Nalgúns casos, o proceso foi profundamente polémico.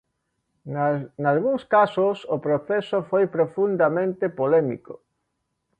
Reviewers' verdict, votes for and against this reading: rejected, 0, 2